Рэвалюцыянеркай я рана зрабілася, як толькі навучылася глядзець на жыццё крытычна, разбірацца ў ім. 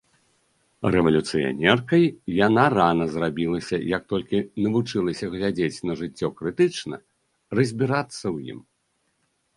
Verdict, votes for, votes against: rejected, 0, 2